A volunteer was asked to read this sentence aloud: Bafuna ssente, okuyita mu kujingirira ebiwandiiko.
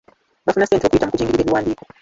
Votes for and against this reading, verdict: 0, 2, rejected